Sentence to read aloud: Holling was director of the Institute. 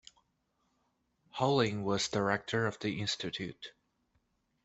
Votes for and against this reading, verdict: 2, 0, accepted